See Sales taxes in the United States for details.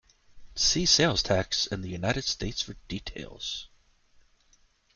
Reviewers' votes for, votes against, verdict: 1, 2, rejected